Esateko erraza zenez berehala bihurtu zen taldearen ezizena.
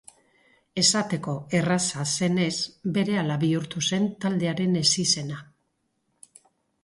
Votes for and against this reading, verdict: 2, 0, accepted